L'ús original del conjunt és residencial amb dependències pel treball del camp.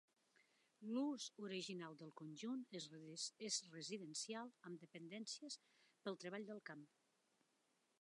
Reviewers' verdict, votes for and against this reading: accepted, 2, 1